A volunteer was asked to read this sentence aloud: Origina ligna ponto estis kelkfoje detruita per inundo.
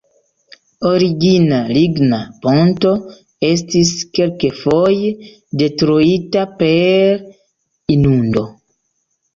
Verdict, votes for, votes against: rejected, 1, 2